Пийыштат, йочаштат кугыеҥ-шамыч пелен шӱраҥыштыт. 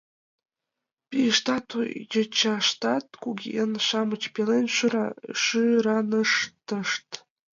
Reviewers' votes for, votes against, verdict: 0, 2, rejected